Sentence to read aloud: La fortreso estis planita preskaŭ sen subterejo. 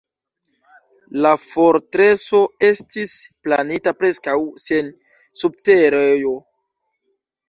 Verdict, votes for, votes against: rejected, 1, 2